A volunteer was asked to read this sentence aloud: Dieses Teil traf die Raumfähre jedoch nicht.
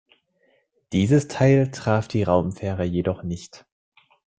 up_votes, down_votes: 2, 0